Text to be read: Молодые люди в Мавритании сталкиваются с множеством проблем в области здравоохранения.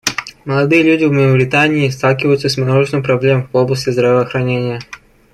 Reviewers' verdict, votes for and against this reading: accepted, 2, 0